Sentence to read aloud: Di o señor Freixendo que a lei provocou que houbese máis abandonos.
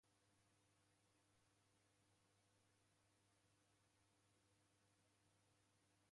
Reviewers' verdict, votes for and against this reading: rejected, 0, 2